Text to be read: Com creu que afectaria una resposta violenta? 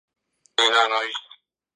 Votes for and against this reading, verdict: 0, 2, rejected